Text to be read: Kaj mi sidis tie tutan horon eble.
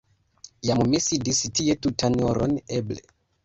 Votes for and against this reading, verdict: 1, 2, rejected